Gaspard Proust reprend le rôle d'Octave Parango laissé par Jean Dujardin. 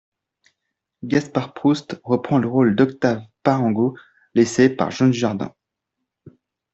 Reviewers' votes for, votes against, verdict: 1, 2, rejected